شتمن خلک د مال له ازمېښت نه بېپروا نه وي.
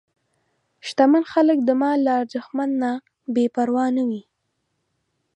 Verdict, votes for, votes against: rejected, 1, 2